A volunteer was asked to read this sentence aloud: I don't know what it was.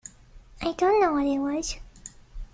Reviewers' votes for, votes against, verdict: 2, 0, accepted